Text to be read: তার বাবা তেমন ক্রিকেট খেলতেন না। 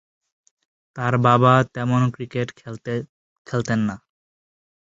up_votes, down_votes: 2, 8